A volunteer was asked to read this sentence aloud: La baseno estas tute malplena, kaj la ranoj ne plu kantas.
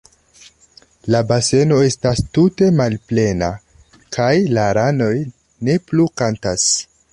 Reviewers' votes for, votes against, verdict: 2, 1, accepted